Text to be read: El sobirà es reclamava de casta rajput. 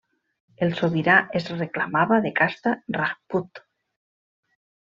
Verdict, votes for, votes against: accepted, 2, 0